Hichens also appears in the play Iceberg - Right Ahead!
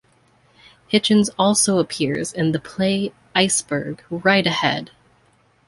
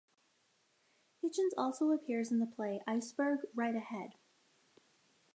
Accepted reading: first